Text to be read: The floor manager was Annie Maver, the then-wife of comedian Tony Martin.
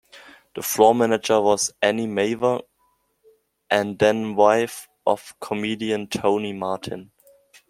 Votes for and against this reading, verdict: 1, 2, rejected